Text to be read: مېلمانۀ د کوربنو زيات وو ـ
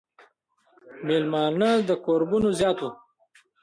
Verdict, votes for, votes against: accepted, 2, 1